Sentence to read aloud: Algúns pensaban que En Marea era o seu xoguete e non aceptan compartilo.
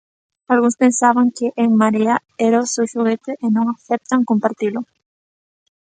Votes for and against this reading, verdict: 2, 0, accepted